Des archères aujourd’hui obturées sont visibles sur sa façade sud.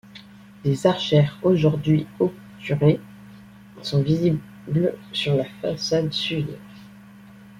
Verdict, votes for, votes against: rejected, 0, 2